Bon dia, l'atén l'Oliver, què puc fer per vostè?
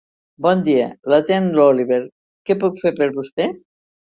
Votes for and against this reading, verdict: 4, 0, accepted